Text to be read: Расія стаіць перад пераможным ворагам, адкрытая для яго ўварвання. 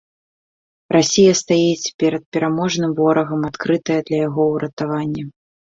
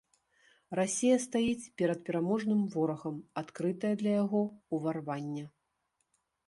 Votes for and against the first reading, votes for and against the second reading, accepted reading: 0, 3, 2, 0, second